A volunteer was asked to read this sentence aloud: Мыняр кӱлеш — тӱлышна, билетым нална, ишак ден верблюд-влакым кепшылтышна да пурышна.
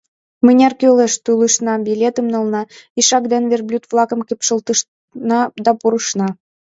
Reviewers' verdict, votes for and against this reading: rejected, 0, 2